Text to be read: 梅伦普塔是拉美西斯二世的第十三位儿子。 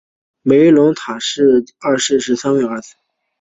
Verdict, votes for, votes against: accepted, 3, 0